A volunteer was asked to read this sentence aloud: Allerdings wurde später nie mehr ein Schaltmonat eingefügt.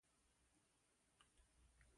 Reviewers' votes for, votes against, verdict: 0, 2, rejected